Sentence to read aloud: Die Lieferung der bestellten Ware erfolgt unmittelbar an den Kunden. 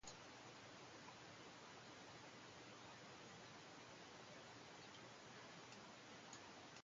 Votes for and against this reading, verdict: 0, 2, rejected